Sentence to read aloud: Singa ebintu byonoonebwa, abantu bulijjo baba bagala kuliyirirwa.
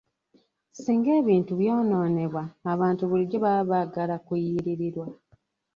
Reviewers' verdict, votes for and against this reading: rejected, 0, 2